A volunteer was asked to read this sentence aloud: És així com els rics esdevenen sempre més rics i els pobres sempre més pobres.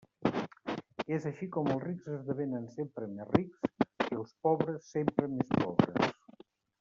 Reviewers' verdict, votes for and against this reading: rejected, 1, 2